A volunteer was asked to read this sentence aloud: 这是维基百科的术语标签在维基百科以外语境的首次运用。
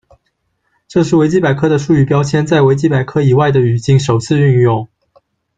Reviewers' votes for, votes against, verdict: 0, 2, rejected